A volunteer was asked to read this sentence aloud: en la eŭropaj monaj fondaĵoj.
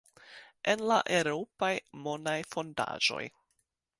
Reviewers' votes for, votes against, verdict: 2, 0, accepted